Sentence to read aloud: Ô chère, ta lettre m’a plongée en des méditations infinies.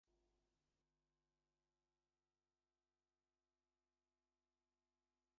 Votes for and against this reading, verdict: 0, 2, rejected